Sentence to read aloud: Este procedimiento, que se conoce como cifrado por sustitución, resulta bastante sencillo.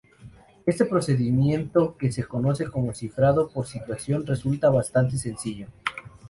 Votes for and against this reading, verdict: 0, 2, rejected